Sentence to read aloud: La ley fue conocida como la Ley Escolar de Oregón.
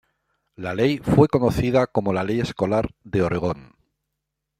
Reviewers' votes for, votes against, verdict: 2, 0, accepted